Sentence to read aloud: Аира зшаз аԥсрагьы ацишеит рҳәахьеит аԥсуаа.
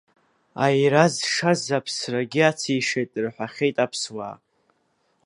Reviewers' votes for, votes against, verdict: 1, 2, rejected